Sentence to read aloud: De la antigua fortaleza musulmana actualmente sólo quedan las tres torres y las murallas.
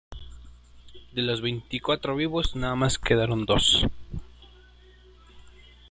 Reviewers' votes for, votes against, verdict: 0, 2, rejected